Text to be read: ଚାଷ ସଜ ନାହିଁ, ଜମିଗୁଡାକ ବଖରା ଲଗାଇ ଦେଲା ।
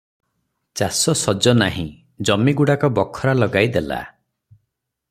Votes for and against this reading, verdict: 6, 0, accepted